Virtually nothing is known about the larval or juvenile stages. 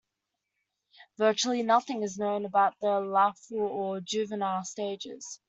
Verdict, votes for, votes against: accepted, 2, 1